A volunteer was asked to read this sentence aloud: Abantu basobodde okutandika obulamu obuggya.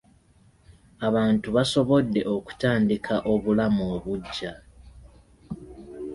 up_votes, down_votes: 2, 1